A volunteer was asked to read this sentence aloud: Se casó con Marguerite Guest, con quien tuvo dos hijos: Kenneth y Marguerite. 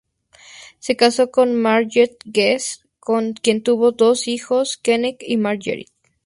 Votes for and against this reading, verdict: 2, 0, accepted